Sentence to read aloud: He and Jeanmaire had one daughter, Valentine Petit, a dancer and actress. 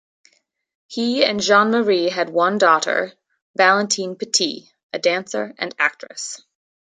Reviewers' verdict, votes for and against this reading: accepted, 2, 0